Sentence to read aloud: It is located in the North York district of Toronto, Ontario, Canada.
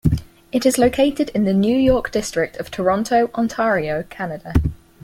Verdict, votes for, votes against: rejected, 0, 4